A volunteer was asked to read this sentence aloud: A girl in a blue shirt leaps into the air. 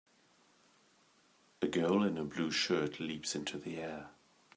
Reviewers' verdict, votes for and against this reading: accepted, 2, 0